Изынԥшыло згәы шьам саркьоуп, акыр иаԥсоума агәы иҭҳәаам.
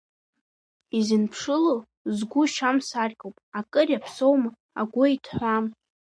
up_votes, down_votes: 2, 1